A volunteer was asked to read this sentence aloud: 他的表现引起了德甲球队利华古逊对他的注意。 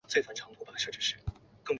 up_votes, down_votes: 1, 3